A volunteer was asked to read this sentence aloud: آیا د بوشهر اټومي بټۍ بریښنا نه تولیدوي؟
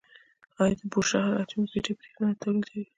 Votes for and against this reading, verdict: 1, 2, rejected